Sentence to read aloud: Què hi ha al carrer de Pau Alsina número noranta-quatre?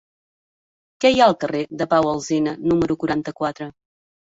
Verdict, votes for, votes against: rejected, 0, 2